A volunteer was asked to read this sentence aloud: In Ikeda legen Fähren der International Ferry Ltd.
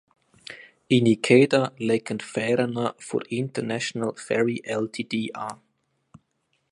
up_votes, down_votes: 0, 2